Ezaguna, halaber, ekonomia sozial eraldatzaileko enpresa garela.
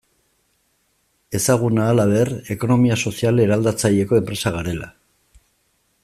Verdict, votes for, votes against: accepted, 2, 1